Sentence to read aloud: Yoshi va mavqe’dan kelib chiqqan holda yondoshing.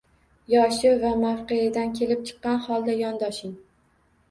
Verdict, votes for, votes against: accepted, 2, 0